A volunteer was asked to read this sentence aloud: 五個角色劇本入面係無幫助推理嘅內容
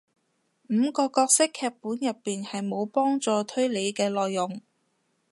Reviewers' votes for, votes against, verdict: 0, 2, rejected